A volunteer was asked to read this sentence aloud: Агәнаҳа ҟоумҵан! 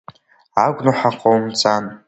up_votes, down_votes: 2, 1